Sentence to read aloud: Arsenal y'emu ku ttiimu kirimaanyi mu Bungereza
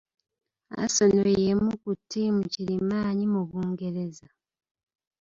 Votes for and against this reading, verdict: 0, 2, rejected